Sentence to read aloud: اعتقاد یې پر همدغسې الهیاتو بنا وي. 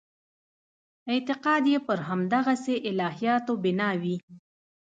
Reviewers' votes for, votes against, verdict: 2, 0, accepted